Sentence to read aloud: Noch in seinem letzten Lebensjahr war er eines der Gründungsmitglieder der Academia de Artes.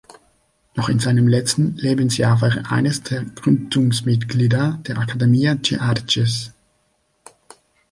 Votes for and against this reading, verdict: 1, 2, rejected